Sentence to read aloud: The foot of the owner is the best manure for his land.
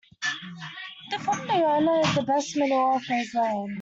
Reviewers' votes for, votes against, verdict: 2, 1, accepted